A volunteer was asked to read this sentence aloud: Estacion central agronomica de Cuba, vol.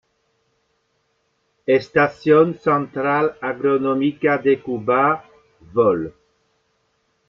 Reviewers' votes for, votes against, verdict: 1, 2, rejected